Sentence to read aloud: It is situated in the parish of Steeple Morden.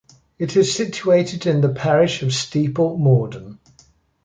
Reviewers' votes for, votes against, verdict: 2, 0, accepted